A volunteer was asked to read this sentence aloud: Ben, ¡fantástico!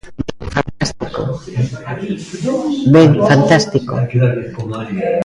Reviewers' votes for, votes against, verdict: 0, 2, rejected